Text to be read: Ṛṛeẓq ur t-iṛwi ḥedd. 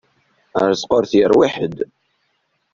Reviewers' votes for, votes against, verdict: 1, 2, rejected